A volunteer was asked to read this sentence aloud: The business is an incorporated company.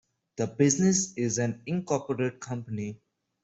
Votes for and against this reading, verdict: 0, 2, rejected